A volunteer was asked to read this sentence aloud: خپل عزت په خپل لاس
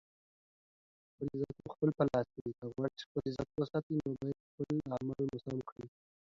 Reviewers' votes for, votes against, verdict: 0, 2, rejected